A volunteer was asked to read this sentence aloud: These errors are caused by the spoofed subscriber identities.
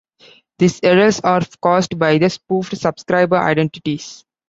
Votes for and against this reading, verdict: 0, 2, rejected